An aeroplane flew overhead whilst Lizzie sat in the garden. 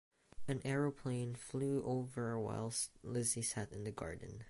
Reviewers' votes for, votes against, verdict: 0, 2, rejected